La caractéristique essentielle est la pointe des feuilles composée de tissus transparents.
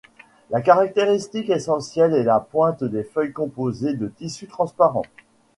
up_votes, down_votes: 2, 0